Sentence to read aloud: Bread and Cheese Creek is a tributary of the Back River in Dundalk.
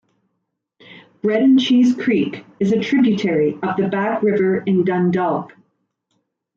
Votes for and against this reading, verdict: 2, 0, accepted